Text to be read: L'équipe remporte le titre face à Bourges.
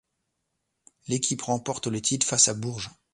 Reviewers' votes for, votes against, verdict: 2, 0, accepted